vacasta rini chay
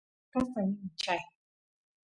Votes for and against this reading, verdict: 0, 2, rejected